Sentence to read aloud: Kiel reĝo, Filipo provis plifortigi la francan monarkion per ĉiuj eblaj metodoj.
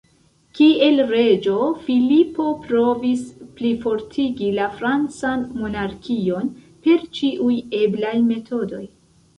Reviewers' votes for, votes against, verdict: 2, 0, accepted